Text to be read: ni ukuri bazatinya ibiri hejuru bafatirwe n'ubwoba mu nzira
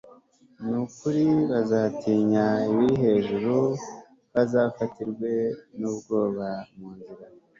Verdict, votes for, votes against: rejected, 1, 2